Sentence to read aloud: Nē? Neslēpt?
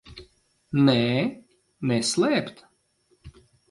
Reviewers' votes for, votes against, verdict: 2, 0, accepted